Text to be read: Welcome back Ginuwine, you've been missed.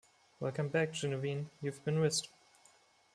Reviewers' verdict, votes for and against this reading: accepted, 2, 0